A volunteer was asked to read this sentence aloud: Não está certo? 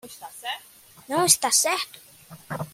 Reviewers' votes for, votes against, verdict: 1, 2, rejected